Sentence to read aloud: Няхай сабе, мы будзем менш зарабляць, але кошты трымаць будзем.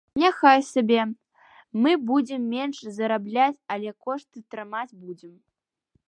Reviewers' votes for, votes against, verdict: 2, 0, accepted